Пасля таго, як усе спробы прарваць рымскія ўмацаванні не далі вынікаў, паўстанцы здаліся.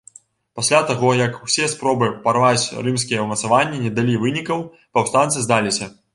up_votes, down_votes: 0, 2